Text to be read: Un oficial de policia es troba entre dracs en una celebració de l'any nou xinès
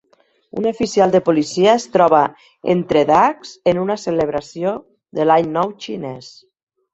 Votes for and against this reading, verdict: 1, 2, rejected